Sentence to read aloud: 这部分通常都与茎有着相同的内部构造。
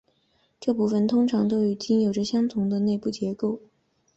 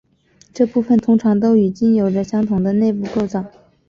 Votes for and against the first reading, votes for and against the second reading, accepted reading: 2, 3, 6, 1, second